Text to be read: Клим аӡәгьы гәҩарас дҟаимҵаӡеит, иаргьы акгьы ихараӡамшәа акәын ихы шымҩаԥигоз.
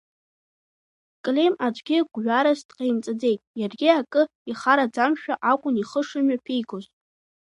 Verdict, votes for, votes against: rejected, 1, 2